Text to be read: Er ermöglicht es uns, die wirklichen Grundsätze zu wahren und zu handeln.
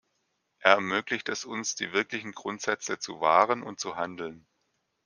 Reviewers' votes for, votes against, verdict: 2, 0, accepted